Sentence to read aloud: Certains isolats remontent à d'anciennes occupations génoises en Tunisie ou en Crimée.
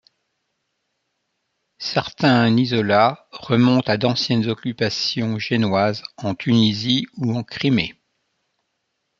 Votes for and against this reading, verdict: 2, 3, rejected